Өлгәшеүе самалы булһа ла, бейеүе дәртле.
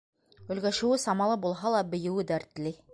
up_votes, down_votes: 2, 0